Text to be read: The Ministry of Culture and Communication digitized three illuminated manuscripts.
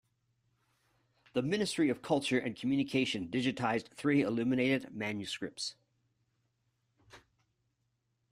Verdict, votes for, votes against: accepted, 2, 0